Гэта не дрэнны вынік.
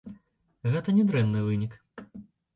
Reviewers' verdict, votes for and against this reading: accepted, 2, 0